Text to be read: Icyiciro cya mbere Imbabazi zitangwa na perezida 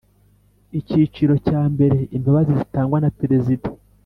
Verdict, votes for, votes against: accepted, 2, 0